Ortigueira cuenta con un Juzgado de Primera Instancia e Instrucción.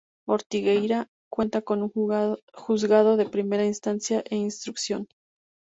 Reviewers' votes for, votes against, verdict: 0, 2, rejected